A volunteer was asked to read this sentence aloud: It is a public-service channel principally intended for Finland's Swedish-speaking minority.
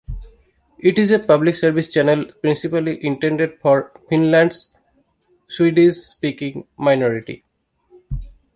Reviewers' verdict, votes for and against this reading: accepted, 2, 0